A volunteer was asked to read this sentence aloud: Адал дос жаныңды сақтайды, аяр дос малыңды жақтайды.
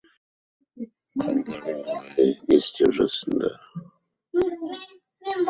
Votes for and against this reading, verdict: 1, 2, rejected